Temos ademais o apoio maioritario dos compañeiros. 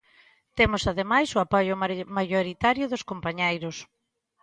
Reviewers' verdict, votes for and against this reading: rejected, 0, 2